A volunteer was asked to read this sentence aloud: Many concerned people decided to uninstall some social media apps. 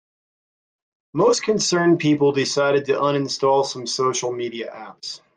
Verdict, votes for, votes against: accepted, 2, 0